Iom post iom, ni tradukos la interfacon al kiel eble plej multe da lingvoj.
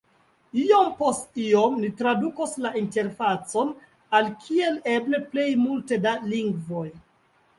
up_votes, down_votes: 2, 1